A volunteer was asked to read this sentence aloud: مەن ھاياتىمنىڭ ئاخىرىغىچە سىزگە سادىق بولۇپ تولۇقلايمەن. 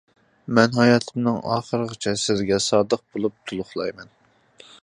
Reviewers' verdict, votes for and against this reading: accepted, 2, 0